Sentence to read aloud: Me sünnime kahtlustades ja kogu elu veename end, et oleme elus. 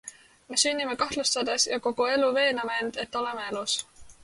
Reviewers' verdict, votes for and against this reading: accepted, 2, 0